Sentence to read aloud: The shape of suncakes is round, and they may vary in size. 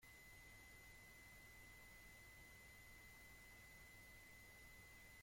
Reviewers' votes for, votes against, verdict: 0, 2, rejected